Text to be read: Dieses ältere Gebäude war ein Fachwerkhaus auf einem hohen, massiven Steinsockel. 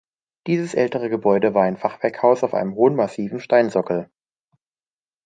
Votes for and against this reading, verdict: 2, 0, accepted